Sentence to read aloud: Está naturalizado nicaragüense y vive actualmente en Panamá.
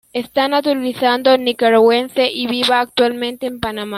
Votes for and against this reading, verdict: 0, 2, rejected